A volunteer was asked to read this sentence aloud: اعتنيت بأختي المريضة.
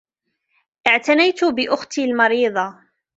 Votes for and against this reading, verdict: 2, 0, accepted